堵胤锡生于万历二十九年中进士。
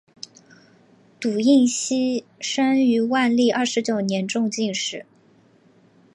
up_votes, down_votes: 3, 1